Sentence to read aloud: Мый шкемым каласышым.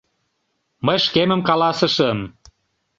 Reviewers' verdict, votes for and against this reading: accepted, 2, 0